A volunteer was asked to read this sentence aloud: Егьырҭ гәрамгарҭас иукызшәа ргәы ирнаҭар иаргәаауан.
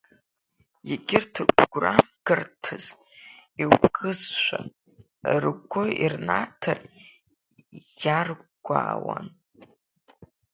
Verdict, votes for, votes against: accepted, 2, 1